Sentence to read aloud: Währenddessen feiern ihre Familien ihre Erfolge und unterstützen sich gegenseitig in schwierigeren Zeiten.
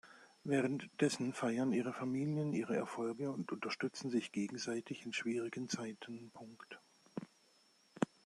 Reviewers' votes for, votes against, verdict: 0, 2, rejected